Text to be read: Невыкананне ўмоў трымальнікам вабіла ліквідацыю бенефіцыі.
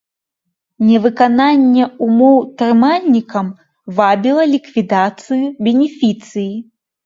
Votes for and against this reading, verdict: 2, 0, accepted